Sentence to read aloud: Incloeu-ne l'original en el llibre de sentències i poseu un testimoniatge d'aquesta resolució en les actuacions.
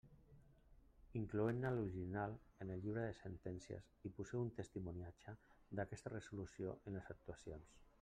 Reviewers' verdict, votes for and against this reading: accepted, 2, 0